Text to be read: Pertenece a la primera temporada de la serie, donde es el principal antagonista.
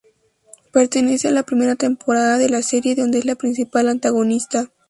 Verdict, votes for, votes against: rejected, 0, 2